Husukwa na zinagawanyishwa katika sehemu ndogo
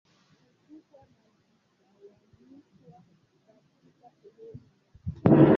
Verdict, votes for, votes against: rejected, 0, 2